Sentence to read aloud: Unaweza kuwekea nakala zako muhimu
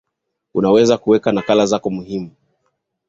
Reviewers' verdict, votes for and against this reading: rejected, 0, 2